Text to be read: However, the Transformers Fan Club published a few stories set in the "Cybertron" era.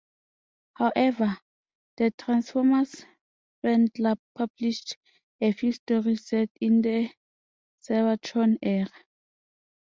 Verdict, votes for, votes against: accepted, 2, 0